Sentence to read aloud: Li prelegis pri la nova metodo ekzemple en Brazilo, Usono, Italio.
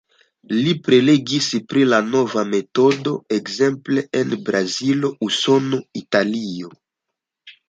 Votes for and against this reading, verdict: 2, 0, accepted